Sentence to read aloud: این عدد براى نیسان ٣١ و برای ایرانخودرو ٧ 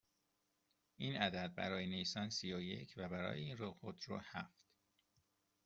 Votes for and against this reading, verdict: 0, 2, rejected